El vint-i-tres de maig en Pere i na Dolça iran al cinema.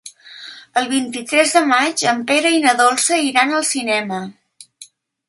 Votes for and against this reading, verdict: 3, 0, accepted